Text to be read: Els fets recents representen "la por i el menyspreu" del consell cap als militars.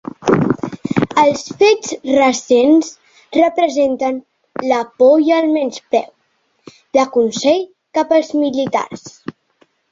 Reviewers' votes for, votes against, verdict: 0, 2, rejected